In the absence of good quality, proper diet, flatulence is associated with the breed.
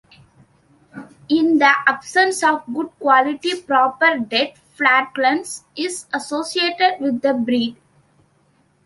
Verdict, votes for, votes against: rejected, 0, 3